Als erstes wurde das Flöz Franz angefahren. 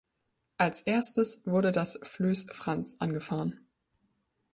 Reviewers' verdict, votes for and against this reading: rejected, 0, 2